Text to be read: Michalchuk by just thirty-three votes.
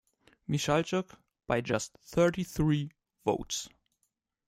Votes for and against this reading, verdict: 2, 0, accepted